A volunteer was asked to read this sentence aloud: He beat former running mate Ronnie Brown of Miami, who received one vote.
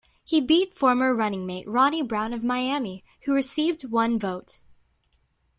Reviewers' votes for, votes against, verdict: 2, 1, accepted